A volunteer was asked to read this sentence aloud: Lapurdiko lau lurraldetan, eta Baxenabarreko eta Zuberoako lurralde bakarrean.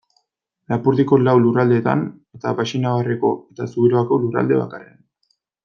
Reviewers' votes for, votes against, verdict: 1, 2, rejected